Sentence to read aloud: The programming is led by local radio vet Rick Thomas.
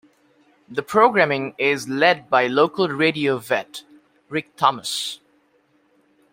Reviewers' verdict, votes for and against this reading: accepted, 2, 0